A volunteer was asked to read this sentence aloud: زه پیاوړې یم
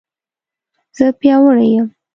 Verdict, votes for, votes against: accepted, 2, 0